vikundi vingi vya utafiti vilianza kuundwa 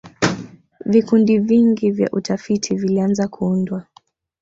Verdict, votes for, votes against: rejected, 1, 2